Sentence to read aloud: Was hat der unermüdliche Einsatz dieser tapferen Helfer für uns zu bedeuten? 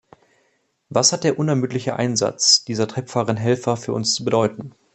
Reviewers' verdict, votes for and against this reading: rejected, 0, 2